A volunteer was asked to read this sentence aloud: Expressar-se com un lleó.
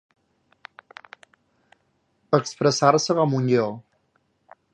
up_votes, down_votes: 0, 2